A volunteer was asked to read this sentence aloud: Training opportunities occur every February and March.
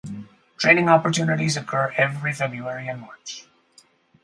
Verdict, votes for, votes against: accepted, 4, 0